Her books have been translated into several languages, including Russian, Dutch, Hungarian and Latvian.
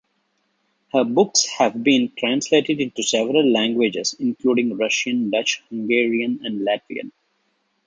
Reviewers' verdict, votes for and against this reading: accepted, 2, 0